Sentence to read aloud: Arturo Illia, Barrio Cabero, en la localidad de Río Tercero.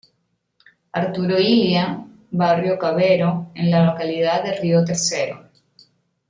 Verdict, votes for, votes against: rejected, 0, 2